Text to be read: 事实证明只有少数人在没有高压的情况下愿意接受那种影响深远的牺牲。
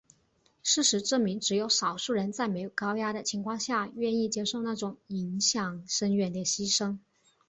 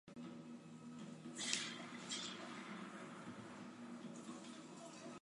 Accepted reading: first